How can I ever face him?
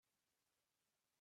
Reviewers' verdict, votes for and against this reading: rejected, 0, 4